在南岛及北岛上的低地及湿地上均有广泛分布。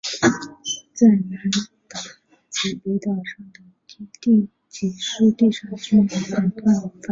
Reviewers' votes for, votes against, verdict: 0, 4, rejected